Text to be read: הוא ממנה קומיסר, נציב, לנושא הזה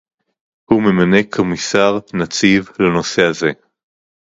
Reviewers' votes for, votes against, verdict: 2, 2, rejected